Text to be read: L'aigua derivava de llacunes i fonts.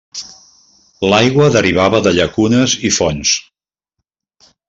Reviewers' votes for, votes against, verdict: 2, 0, accepted